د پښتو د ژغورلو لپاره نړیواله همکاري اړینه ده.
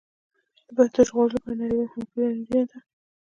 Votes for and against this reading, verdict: 0, 2, rejected